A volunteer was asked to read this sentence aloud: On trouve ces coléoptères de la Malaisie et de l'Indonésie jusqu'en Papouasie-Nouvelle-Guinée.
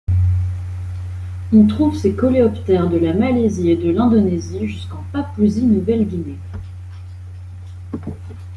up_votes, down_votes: 3, 0